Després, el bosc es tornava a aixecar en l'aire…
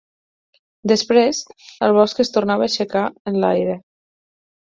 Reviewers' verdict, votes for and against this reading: accepted, 8, 2